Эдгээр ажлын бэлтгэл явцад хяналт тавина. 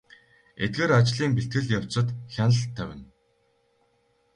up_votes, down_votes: 2, 0